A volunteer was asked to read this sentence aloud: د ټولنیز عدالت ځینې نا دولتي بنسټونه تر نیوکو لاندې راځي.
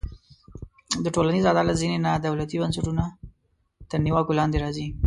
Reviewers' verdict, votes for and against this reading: rejected, 0, 2